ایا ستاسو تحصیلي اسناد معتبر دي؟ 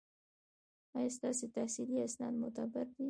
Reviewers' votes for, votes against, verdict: 1, 2, rejected